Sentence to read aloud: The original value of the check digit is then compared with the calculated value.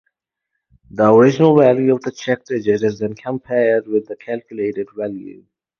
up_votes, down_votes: 4, 0